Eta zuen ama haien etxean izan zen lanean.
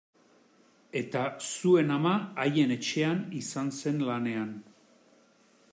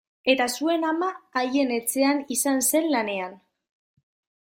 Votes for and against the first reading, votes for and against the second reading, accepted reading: 2, 0, 1, 2, first